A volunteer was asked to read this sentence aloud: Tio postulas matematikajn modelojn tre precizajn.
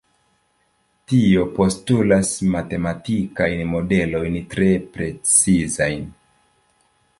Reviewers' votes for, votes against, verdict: 1, 2, rejected